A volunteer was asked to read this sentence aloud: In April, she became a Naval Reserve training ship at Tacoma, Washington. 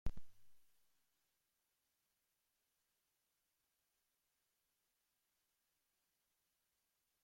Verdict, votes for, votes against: rejected, 0, 2